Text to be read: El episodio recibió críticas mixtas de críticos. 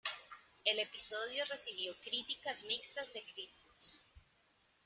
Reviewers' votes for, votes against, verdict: 2, 0, accepted